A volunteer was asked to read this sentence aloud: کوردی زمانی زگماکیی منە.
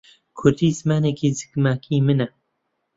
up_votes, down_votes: 0, 2